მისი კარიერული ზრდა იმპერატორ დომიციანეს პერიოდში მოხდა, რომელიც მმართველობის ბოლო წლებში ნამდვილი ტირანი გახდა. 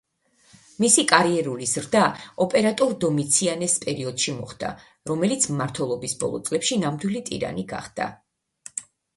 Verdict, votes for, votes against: rejected, 0, 2